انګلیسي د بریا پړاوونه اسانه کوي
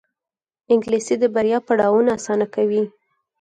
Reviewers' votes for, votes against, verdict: 4, 0, accepted